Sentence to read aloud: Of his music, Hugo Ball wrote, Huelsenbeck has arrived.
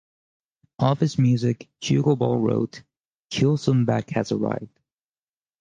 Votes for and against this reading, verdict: 4, 0, accepted